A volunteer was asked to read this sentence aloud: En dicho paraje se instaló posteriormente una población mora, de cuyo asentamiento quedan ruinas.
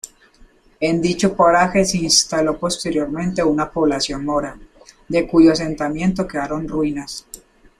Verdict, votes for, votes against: rejected, 1, 2